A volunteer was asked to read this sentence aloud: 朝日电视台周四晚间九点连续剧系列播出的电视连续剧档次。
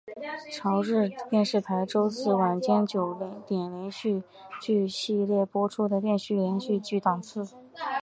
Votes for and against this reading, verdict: 2, 1, accepted